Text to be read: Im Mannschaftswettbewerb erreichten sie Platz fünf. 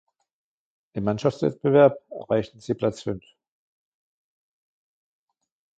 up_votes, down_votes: 2, 1